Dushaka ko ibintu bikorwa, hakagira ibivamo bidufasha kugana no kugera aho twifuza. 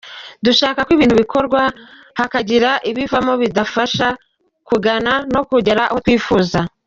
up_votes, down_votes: 1, 2